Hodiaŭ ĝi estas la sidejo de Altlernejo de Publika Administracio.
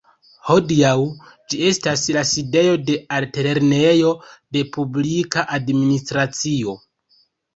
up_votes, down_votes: 0, 2